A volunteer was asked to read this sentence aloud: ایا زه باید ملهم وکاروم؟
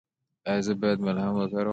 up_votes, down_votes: 2, 0